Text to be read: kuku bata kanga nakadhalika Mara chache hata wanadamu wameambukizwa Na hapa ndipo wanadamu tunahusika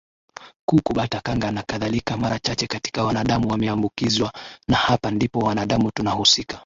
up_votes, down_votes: 12, 6